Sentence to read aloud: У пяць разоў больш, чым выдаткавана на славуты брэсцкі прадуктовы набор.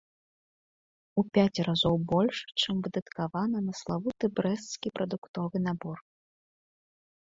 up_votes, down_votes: 2, 3